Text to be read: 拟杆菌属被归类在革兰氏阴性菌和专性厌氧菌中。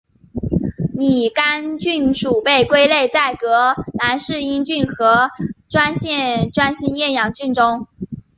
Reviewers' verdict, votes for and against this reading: accepted, 3, 0